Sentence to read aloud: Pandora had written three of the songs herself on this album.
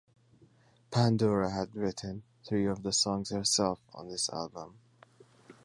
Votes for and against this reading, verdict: 2, 0, accepted